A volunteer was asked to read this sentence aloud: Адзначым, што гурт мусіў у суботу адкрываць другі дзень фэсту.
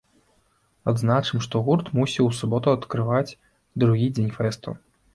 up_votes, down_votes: 2, 0